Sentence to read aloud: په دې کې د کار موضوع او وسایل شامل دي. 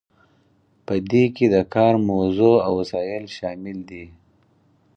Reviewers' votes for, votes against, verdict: 4, 0, accepted